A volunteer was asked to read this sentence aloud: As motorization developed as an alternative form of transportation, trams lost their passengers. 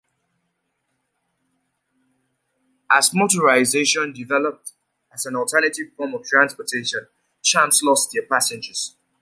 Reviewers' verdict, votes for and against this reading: accepted, 2, 0